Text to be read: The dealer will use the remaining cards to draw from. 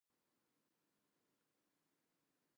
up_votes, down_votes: 0, 2